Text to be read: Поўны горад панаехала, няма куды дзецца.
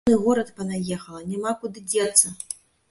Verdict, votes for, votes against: rejected, 0, 2